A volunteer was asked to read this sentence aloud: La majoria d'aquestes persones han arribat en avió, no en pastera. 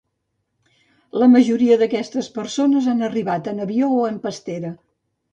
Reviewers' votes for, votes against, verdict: 2, 2, rejected